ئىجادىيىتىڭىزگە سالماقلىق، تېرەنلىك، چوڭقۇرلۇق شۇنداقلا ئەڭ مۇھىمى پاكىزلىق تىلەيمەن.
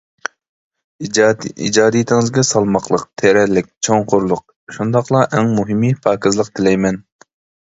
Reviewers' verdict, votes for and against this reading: rejected, 0, 2